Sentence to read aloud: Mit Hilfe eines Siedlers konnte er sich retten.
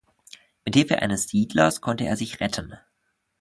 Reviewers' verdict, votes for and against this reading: accepted, 2, 1